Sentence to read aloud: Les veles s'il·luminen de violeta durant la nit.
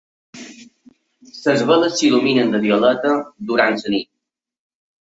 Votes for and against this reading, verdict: 0, 2, rejected